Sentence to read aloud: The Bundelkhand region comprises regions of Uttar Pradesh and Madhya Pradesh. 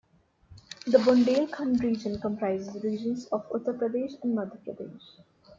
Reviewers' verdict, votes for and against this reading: rejected, 1, 2